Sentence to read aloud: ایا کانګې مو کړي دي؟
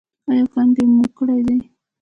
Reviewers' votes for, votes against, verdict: 1, 2, rejected